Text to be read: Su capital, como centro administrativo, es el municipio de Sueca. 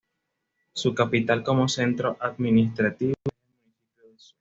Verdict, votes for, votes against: accepted, 2, 0